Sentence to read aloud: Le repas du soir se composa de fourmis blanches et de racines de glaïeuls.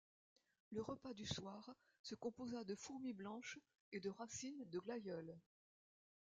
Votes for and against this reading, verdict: 1, 2, rejected